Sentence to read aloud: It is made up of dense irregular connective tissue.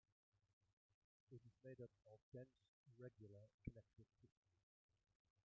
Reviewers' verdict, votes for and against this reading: rejected, 0, 2